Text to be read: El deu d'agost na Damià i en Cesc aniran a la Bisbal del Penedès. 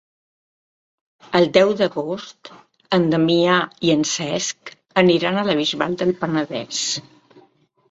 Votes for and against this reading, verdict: 0, 2, rejected